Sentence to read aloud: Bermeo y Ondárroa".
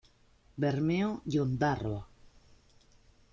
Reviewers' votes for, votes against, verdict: 2, 0, accepted